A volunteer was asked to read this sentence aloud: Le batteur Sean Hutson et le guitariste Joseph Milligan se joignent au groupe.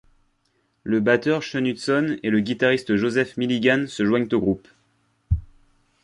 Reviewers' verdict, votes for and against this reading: accepted, 2, 0